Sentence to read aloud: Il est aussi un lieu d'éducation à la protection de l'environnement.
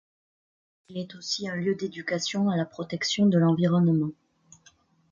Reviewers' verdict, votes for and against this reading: accepted, 2, 0